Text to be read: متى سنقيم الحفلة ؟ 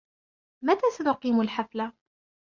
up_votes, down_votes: 1, 2